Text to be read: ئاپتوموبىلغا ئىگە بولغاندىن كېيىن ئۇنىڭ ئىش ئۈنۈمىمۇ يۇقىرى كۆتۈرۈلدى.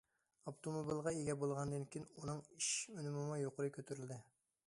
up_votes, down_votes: 2, 0